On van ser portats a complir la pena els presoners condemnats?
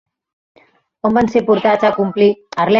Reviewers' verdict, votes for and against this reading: rejected, 0, 2